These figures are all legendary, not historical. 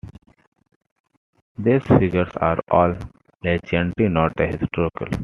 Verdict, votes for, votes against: rejected, 1, 2